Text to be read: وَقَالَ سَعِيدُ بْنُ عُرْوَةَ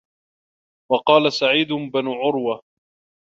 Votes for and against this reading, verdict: 2, 1, accepted